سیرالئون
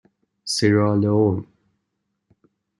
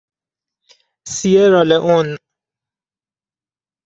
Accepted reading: first